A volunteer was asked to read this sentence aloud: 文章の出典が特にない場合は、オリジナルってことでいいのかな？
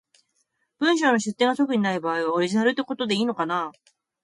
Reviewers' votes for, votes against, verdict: 2, 0, accepted